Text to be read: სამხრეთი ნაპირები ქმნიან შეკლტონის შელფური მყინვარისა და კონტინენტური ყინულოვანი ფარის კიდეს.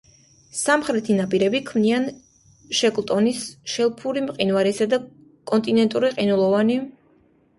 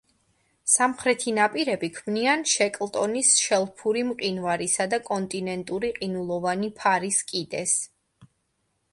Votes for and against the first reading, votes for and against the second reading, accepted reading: 1, 2, 3, 0, second